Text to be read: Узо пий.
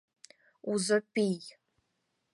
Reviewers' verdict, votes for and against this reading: accepted, 6, 0